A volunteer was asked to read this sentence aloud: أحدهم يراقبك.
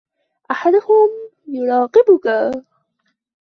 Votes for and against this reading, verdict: 1, 2, rejected